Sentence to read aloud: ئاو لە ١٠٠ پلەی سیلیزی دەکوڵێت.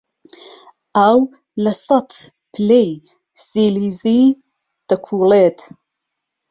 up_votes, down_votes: 0, 2